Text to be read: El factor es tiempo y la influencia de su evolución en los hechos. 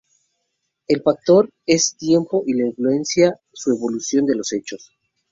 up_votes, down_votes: 0, 2